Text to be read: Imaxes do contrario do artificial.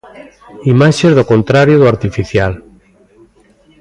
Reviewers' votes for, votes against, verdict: 1, 2, rejected